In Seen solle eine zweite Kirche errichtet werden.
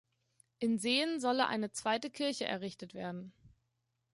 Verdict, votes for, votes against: accepted, 2, 0